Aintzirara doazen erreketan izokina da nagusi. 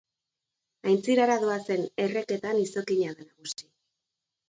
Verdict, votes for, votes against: accepted, 2, 1